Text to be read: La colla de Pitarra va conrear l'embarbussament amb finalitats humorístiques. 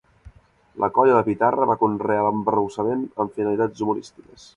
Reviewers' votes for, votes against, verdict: 1, 2, rejected